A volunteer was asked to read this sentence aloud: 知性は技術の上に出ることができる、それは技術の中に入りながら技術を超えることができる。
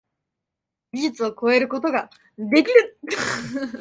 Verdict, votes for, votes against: rejected, 0, 4